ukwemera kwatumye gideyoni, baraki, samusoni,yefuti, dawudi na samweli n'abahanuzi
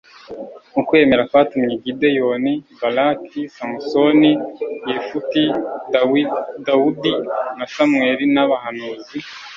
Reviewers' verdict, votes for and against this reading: rejected, 1, 2